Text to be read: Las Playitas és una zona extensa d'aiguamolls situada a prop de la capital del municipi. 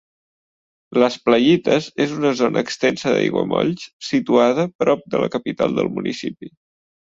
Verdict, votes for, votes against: rejected, 0, 2